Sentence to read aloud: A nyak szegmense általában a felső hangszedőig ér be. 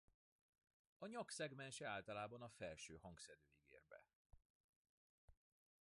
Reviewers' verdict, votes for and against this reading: rejected, 0, 2